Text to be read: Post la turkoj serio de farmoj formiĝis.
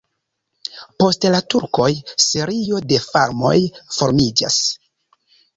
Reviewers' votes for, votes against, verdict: 1, 2, rejected